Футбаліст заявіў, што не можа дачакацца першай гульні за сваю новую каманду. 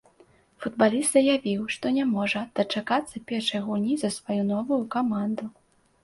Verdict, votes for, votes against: accepted, 2, 0